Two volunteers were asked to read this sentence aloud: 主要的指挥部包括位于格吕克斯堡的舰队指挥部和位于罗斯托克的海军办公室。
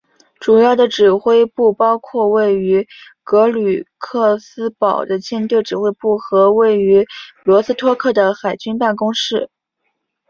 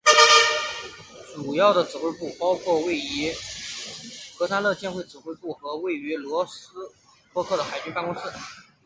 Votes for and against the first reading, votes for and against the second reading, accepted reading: 2, 0, 1, 2, first